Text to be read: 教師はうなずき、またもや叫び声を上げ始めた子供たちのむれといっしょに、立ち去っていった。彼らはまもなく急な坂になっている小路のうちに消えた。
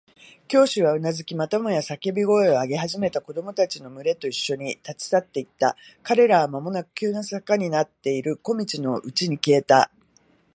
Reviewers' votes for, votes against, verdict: 1, 2, rejected